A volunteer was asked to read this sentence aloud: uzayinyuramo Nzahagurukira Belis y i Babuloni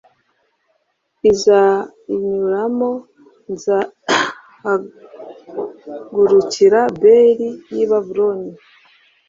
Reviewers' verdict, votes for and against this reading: rejected, 1, 2